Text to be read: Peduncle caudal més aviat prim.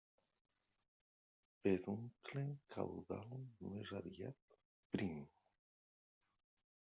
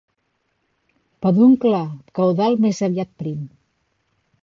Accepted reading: second